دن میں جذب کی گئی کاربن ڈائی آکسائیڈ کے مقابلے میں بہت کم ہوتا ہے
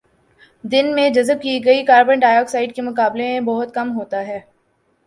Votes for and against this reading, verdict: 3, 0, accepted